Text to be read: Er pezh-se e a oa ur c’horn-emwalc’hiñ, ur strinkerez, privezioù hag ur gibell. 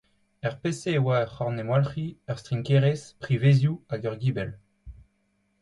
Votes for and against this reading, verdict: 2, 0, accepted